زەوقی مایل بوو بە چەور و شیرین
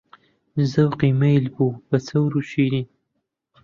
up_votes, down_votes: 1, 2